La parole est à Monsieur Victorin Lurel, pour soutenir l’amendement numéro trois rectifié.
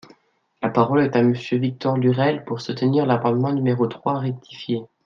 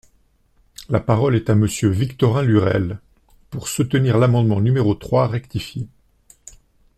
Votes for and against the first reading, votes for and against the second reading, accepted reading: 1, 2, 2, 0, second